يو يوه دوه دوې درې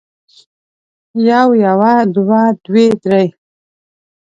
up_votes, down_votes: 2, 0